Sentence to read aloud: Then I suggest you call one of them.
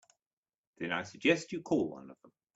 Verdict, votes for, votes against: accepted, 2, 1